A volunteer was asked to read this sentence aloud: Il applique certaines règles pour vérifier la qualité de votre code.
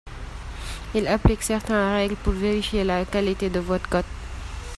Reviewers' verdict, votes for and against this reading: rejected, 1, 2